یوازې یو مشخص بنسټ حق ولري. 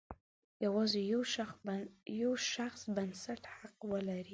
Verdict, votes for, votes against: rejected, 0, 2